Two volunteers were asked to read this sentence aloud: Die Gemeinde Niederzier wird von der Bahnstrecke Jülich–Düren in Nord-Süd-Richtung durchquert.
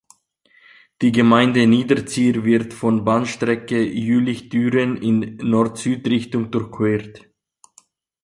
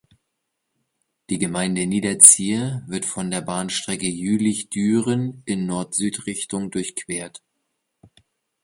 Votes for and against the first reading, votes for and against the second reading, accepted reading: 0, 2, 2, 0, second